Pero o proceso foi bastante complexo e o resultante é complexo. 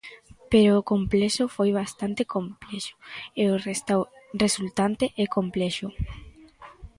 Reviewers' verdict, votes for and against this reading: rejected, 0, 2